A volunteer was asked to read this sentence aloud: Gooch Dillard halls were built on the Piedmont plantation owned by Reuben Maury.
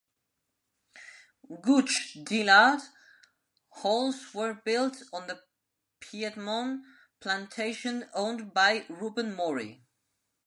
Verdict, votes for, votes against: accepted, 2, 0